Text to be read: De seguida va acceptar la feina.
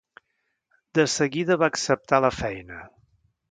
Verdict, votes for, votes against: accepted, 2, 0